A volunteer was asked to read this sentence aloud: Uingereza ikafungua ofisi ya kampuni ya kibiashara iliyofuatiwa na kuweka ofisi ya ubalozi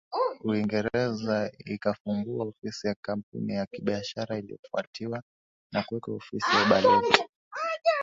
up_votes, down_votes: 1, 2